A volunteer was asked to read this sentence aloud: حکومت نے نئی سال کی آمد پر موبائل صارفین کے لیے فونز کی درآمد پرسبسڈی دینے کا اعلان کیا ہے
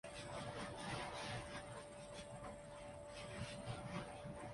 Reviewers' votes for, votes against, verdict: 0, 2, rejected